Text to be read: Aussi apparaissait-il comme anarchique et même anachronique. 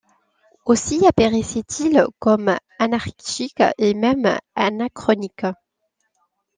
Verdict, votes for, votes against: rejected, 1, 2